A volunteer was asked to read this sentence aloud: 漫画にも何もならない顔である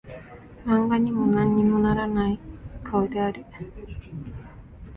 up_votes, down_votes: 1, 2